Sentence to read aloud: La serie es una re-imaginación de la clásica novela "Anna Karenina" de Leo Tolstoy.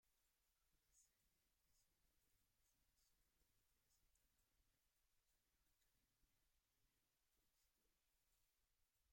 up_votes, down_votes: 0, 2